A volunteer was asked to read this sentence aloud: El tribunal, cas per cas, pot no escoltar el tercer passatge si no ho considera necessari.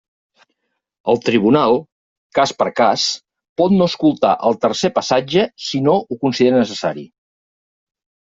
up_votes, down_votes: 3, 0